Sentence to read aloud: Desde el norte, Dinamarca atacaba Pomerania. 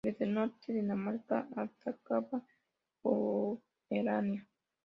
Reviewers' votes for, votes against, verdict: 2, 1, accepted